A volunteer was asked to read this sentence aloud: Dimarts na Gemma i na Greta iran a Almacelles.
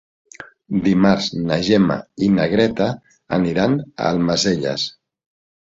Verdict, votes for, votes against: accepted, 2, 1